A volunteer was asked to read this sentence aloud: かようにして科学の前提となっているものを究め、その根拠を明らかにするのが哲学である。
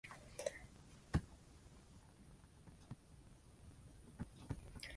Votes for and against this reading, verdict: 0, 2, rejected